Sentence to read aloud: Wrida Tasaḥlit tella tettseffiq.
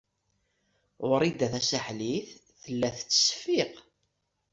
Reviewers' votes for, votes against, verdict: 2, 0, accepted